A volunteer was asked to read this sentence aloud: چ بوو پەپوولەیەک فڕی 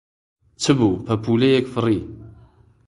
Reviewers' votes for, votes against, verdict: 2, 0, accepted